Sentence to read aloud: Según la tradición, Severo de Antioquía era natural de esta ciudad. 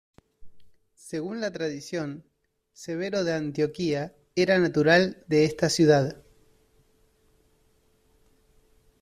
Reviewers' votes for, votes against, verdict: 2, 0, accepted